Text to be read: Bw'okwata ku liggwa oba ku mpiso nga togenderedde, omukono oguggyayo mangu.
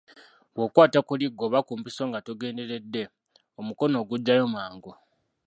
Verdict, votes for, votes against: accepted, 2, 1